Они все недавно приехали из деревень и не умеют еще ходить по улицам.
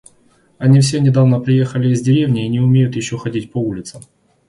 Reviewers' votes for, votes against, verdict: 0, 2, rejected